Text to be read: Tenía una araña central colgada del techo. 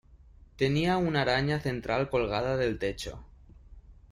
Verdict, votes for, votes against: accepted, 2, 0